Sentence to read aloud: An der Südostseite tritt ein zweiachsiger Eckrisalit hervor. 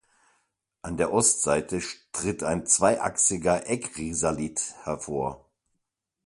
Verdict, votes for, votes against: rejected, 0, 2